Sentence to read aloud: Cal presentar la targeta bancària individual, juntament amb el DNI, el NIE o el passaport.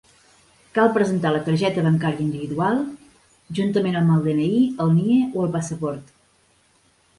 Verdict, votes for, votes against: accepted, 5, 0